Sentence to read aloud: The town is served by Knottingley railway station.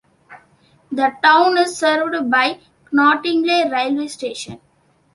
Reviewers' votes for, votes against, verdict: 3, 0, accepted